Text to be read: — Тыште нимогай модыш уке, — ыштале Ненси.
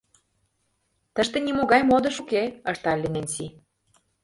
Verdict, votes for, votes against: accepted, 2, 0